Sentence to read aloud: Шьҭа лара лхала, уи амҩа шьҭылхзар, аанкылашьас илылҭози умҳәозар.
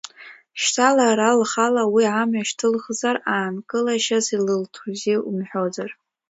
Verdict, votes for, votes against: accepted, 2, 0